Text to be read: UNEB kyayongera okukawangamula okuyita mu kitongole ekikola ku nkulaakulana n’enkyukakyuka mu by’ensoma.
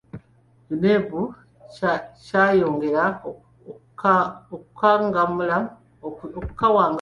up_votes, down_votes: 0, 2